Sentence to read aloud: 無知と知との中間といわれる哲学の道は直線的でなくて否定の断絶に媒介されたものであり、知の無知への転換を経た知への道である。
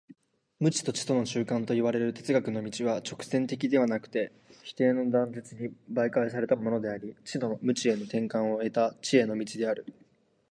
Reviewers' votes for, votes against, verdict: 2, 1, accepted